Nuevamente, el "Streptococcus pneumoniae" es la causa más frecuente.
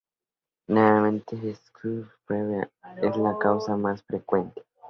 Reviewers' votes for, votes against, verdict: 0, 2, rejected